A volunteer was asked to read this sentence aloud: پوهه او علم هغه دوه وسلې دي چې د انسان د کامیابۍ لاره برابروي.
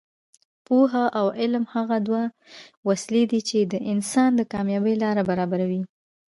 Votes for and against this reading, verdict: 0, 2, rejected